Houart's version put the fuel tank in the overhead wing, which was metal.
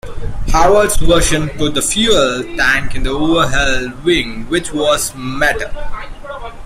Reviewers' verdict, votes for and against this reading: accepted, 2, 0